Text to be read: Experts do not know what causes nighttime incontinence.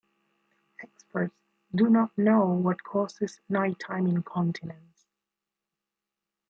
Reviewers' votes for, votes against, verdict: 1, 2, rejected